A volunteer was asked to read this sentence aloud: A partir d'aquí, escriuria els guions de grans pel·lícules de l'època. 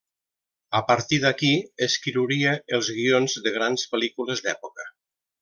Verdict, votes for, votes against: rejected, 1, 2